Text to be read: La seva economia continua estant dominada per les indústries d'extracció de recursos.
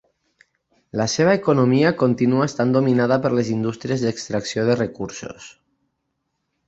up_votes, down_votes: 6, 0